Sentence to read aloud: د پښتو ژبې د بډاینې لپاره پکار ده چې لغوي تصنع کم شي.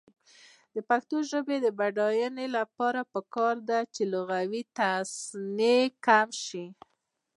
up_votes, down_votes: 2, 1